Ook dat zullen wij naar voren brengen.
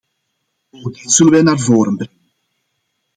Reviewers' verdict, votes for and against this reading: rejected, 0, 2